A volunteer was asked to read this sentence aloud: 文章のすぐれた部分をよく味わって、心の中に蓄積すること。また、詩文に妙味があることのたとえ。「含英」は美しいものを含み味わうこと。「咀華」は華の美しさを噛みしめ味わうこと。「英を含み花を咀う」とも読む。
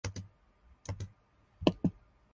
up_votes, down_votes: 0, 2